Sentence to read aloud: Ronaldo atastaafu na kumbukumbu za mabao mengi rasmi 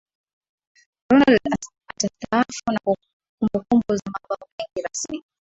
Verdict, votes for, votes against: rejected, 0, 2